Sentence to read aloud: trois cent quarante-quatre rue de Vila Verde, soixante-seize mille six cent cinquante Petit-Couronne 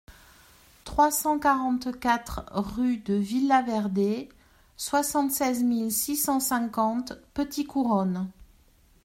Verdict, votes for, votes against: accepted, 2, 0